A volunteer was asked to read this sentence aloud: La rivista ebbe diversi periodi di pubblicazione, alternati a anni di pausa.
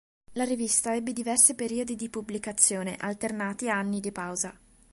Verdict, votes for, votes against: accepted, 5, 0